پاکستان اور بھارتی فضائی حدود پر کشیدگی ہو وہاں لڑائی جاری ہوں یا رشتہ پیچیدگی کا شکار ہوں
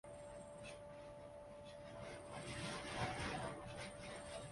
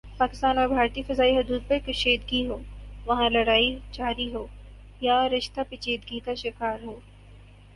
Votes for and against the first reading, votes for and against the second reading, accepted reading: 0, 2, 2, 0, second